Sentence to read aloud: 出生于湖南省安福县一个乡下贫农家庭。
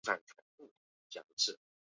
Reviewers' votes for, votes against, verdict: 0, 2, rejected